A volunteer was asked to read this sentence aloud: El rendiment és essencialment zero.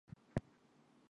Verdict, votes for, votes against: rejected, 0, 2